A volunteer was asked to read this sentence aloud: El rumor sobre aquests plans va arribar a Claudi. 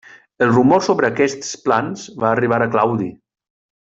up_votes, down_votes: 1, 2